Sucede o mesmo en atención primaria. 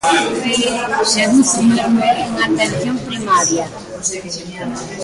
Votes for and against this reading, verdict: 0, 2, rejected